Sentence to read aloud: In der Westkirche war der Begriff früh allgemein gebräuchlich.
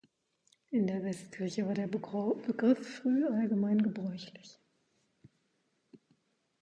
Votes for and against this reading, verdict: 0, 2, rejected